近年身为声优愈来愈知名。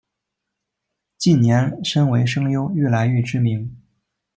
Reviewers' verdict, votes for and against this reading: accepted, 2, 1